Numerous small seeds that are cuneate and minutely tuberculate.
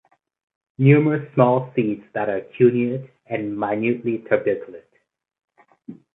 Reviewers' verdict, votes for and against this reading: accepted, 4, 2